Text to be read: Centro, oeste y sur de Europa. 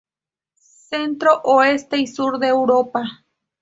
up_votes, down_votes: 4, 0